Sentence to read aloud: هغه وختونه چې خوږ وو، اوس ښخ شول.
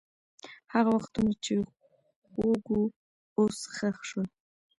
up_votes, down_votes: 1, 2